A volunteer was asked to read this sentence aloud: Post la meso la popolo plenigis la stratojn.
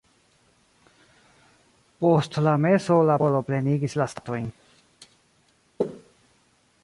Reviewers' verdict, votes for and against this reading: rejected, 0, 2